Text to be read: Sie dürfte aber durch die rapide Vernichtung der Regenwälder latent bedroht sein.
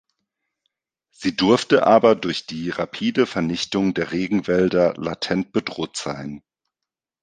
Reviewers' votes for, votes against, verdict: 1, 2, rejected